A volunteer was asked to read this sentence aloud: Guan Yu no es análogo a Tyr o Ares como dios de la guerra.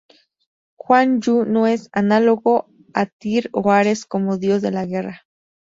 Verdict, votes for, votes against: accepted, 4, 0